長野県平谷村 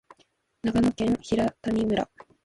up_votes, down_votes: 2, 1